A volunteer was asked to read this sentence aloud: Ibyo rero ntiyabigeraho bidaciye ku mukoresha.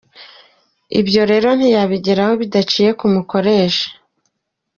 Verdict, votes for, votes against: accepted, 2, 0